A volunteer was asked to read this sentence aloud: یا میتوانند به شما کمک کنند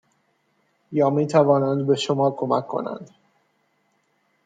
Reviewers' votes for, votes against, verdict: 2, 0, accepted